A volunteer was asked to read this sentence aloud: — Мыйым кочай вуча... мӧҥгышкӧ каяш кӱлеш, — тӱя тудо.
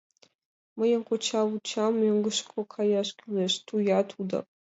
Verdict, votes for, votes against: accepted, 2, 0